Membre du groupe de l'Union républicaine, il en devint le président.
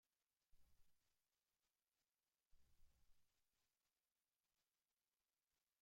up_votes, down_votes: 0, 2